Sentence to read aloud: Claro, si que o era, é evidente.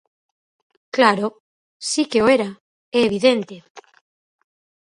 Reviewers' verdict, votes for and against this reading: accepted, 4, 0